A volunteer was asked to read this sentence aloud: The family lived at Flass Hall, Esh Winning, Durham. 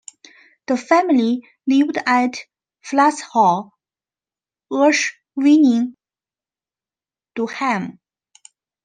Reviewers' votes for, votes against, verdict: 1, 2, rejected